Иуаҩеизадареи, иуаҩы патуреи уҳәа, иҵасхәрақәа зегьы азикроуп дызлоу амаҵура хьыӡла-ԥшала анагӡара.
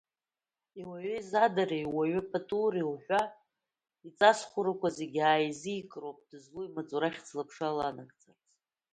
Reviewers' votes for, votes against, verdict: 1, 2, rejected